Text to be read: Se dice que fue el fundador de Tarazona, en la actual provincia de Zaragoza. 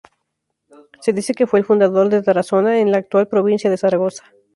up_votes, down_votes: 6, 0